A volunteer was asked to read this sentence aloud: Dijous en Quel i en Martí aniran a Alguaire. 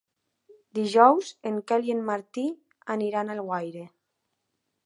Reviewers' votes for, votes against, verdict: 2, 1, accepted